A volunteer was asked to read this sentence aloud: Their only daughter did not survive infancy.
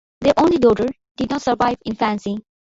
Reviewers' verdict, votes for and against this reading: accepted, 4, 0